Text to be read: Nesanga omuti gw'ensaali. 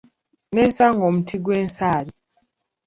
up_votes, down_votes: 2, 0